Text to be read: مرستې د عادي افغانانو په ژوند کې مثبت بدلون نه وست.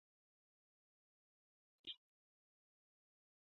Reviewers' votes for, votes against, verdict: 1, 2, rejected